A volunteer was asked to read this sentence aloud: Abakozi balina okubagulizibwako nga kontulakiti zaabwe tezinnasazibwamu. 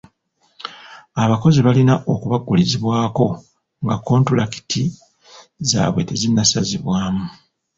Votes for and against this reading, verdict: 0, 2, rejected